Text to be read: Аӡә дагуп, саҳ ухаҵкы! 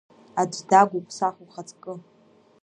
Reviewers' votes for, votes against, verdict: 2, 0, accepted